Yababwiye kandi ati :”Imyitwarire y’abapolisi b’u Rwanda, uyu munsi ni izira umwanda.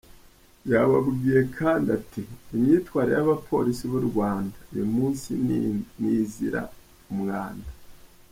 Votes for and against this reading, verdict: 1, 2, rejected